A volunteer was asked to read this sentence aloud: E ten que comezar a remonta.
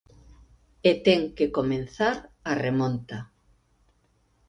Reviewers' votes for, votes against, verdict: 2, 1, accepted